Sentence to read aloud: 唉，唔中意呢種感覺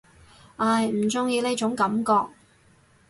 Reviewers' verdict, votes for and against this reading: accepted, 4, 0